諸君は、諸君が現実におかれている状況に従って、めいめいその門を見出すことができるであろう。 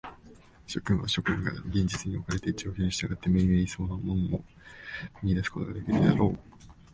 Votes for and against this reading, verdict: 0, 2, rejected